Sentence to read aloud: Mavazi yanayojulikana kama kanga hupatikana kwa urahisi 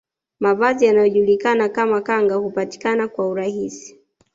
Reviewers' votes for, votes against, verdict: 2, 0, accepted